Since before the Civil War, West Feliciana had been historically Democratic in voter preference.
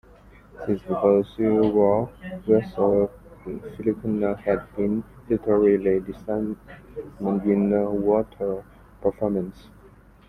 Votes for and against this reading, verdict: 0, 2, rejected